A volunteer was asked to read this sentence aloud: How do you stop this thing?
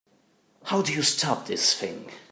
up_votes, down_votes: 3, 0